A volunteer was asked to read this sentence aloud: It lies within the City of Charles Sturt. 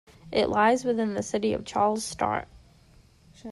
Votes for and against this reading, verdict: 2, 1, accepted